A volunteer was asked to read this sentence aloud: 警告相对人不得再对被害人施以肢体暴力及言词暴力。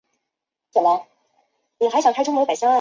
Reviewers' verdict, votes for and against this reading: rejected, 1, 3